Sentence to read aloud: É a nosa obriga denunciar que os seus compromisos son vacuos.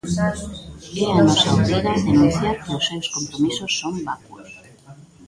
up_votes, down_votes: 0, 2